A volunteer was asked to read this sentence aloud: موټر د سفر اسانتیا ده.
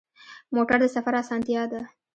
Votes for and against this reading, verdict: 1, 2, rejected